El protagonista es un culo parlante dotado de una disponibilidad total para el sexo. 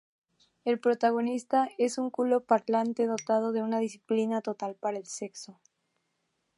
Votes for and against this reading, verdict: 0, 2, rejected